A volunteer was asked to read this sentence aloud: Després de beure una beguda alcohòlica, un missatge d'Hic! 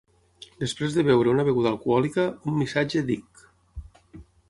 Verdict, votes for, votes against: accepted, 9, 0